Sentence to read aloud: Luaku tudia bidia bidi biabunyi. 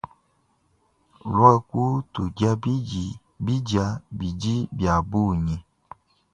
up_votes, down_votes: 0, 2